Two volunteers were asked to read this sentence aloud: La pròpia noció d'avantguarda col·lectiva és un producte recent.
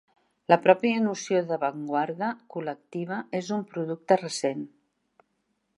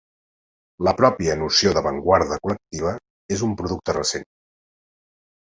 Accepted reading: second